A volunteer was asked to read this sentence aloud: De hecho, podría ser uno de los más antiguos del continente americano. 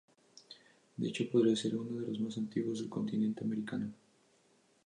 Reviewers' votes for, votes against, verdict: 2, 0, accepted